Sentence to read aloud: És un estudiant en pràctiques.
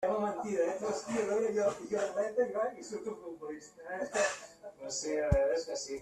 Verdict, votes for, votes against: rejected, 0, 2